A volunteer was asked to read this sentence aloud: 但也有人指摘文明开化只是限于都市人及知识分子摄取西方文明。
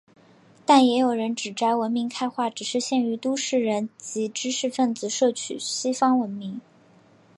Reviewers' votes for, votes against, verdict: 1, 2, rejected